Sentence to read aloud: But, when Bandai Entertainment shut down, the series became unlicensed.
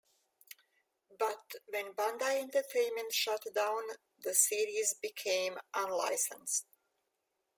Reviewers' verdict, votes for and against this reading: accepted, 2, 0